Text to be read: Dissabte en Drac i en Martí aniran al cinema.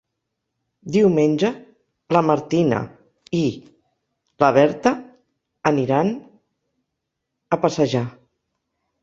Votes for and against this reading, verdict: 0, 2, rejected